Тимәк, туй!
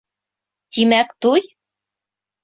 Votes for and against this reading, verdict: 2, 0, accepted